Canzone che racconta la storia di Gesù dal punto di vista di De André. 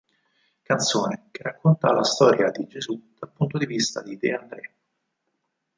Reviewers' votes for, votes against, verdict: 4, 0, accepted